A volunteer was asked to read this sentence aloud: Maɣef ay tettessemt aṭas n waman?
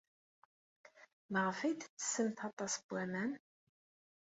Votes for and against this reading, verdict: 2, 0, accepted